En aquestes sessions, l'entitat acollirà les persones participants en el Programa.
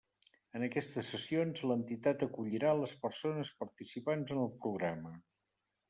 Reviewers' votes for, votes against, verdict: 3, 0, accepted